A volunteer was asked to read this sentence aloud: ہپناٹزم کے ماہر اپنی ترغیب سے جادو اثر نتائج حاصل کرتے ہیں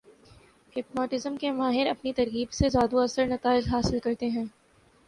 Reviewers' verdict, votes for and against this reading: accepted, 2, 0